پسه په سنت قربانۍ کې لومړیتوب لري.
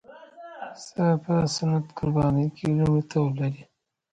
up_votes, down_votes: 0, 2